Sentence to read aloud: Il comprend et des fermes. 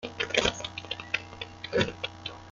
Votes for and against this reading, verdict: 0, 2, rejected